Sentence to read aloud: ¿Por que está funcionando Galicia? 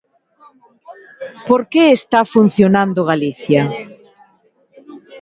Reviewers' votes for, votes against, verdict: 2, 1, accepted